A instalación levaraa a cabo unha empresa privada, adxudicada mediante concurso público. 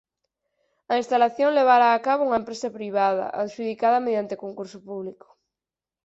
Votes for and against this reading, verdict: 4, 0, accepted